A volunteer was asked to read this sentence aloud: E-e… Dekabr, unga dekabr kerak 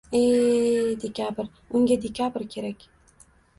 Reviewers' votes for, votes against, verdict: 1, 2, rejected